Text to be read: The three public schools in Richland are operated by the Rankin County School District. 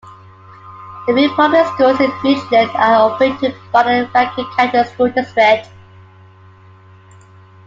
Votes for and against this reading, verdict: 0, 2, rejected